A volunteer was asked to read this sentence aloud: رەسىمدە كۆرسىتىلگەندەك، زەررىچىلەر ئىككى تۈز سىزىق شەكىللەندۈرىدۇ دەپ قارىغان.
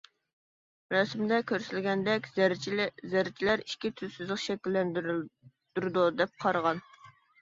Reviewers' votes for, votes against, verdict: 0, 2, rejected